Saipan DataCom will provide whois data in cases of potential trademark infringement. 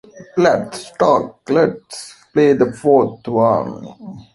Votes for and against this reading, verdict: 0, 2, rejected